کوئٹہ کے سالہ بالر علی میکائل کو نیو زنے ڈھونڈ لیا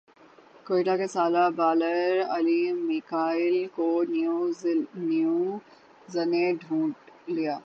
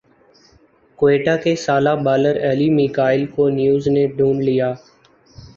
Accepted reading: second